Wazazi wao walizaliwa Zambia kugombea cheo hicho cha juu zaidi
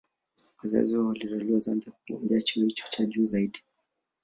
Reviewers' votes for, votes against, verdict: 2, 1, accepted